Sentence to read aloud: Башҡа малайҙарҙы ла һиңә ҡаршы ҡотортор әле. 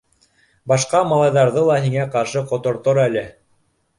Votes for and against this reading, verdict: 2, 0, accepted